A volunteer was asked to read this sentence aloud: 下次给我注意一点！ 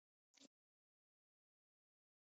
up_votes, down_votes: 0, 2